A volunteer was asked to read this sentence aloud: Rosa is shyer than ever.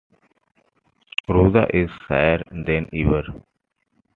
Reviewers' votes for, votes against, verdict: 2, 0, accepted